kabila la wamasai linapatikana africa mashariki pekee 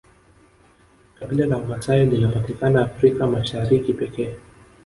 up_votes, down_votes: 1, 2